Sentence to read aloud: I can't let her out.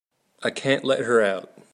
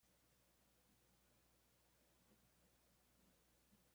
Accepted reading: first